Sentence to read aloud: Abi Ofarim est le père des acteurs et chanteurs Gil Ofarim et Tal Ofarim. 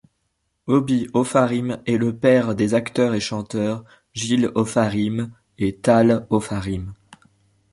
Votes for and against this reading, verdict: 0, 2, rejected